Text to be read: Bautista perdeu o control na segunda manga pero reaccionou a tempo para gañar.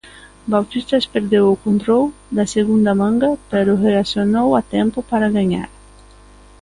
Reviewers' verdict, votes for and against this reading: rejected, 1, 2